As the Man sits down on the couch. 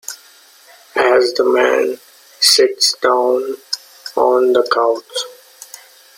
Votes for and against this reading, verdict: 2, 0, accepted